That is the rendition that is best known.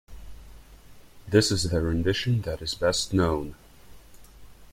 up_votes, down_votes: 0, 2